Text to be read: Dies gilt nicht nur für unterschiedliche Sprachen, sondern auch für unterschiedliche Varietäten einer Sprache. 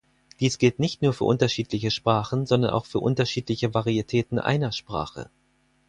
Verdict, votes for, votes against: accepted, 4, 0